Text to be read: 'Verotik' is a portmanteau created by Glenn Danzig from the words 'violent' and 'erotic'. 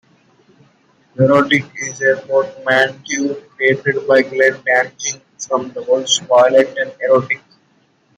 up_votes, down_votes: 0, 2